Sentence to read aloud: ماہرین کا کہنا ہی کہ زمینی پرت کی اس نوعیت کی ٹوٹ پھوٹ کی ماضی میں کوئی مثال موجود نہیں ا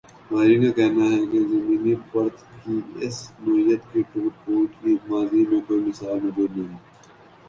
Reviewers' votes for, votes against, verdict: 2, 4, rejected